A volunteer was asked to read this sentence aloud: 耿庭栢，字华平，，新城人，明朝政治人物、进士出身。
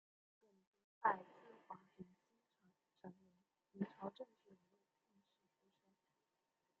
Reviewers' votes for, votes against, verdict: 0, 2, rejected